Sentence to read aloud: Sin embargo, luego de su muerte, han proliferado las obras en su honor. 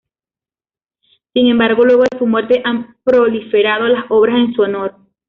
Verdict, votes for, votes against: accepted, 2, 0